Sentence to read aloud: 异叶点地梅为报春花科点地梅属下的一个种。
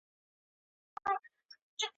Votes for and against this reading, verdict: 1, 3, rejected